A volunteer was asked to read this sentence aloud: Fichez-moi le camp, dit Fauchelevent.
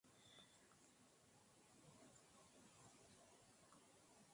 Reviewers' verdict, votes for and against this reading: rejected, 0, 2